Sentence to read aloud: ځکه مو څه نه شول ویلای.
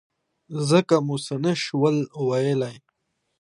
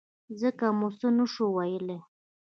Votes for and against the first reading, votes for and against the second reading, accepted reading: 2, 0, 1, 2, first